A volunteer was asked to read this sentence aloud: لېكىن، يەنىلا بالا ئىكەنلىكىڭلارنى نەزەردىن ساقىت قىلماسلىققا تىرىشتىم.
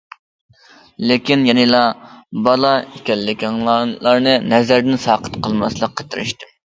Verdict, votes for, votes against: accepted, 2, 1